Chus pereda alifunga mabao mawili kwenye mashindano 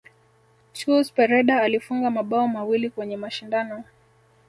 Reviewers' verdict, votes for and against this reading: accepted, 2, 0